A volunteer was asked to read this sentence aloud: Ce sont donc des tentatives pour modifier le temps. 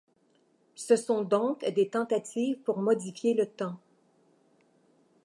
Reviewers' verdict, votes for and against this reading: accepted, 2, 0